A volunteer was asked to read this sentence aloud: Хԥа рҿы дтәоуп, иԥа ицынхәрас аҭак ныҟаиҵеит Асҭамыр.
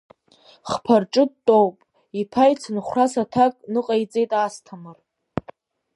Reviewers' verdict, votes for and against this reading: accepted, 3, 0